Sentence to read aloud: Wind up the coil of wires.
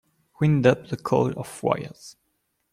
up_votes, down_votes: 0, 2